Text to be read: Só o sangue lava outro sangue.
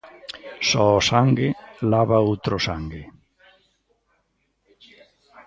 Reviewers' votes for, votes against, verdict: 2, 1, accepted